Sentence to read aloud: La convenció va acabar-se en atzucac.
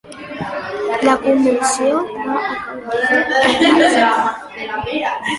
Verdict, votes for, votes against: rejected, 1, 2